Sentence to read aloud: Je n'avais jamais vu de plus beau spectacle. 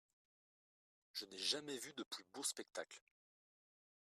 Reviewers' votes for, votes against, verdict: 0, 2, rejected